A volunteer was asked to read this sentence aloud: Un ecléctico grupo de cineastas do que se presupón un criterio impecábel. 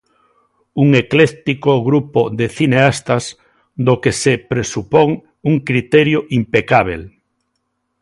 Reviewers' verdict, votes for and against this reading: accepted, 2, 0